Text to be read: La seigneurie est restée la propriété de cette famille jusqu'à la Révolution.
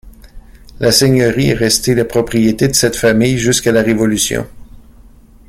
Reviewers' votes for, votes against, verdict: 2, 0, accepted